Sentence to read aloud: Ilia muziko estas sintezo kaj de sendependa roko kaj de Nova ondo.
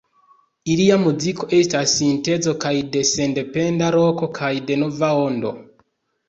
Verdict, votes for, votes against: accepted, 2, 0